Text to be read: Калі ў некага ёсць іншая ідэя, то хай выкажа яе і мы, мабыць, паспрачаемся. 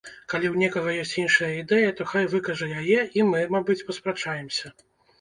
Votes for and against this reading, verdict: 2, 0, accepted